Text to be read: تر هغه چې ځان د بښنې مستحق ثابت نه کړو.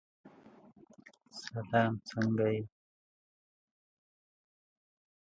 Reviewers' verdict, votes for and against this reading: rejected, 1, 2